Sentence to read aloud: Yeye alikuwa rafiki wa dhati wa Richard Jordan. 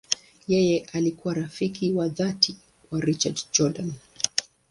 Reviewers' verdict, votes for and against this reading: accepted, 2, 0